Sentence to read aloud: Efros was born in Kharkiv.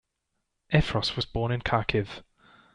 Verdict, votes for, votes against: accepted, 2, 0